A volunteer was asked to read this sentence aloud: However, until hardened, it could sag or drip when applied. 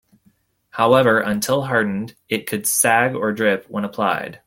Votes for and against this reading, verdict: 2, 0, accepted